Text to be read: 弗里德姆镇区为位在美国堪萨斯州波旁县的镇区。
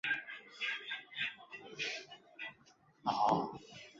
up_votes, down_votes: 0, 2